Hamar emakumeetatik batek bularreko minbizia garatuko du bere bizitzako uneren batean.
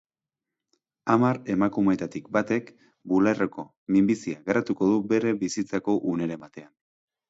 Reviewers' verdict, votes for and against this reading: accepted, 2, 0